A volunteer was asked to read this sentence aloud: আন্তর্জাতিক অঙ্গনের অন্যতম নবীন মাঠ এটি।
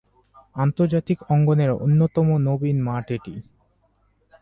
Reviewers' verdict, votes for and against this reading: accepted, 4, 0